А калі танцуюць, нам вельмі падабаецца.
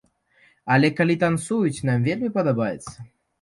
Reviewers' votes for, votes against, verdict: 1, 3, rejected